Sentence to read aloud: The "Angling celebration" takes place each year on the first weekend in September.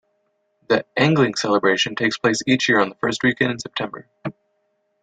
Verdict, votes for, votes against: rejected, 1, 2